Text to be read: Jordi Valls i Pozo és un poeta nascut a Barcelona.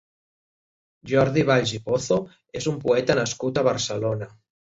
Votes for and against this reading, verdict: 3, 0, accepted